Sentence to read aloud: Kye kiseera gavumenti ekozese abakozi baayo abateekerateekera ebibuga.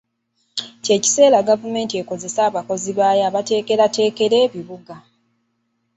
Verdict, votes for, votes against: accepted, 2, 0